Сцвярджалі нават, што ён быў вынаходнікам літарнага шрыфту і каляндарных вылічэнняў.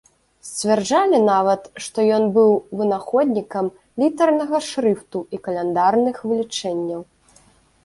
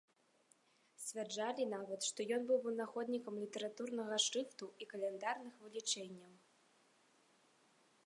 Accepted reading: first